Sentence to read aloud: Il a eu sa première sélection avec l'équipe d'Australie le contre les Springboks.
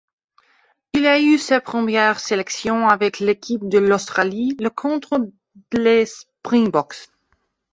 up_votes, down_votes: 1, 2